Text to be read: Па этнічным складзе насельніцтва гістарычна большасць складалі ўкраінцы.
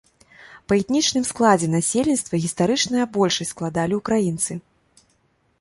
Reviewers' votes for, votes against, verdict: 1, 2, rejected